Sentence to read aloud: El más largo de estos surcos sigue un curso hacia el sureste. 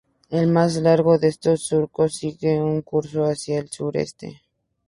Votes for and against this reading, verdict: 2, 0, accepted